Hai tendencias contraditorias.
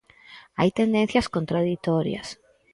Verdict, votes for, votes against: accepted, 4, 0